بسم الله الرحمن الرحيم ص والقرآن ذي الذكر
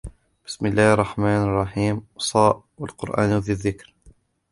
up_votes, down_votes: 2, 0